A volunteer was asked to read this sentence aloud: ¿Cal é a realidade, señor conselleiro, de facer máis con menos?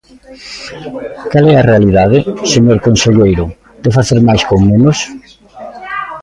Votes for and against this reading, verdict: 2, 1, accepted